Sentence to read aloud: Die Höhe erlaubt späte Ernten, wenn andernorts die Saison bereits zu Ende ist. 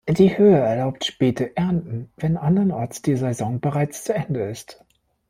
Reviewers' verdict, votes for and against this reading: accepted, 2, 1